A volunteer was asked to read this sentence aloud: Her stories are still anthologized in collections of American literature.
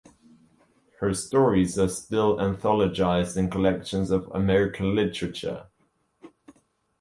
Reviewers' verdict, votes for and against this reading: accepted, 2, 0